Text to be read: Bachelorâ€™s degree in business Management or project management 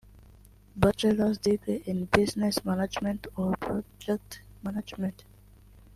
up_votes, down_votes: 1, 2